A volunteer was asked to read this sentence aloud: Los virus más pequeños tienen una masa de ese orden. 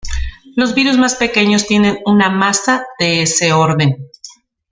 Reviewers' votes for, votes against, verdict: 2, 0, accepted